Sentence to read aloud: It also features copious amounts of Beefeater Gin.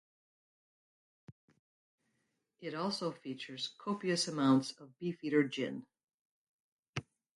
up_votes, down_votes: 2, 2